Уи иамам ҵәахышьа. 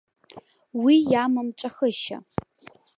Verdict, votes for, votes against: accepted, 2, 0